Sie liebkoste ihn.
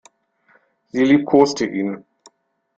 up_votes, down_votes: 2, 0